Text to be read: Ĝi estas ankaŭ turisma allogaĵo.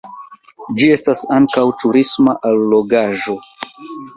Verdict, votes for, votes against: accepted, 2, 1